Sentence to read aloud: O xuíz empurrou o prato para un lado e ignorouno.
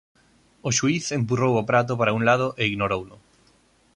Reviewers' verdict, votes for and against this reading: accepted, 2, 0